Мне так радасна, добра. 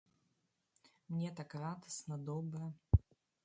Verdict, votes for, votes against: rejected, 0, 2